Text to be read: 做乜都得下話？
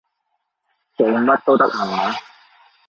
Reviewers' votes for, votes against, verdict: 2, 1, accepted